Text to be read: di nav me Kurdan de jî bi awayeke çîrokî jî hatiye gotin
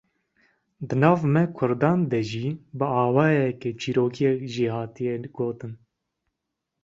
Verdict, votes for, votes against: rejected, 0, 2